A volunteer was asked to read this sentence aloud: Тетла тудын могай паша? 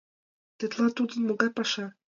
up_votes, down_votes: 2, 0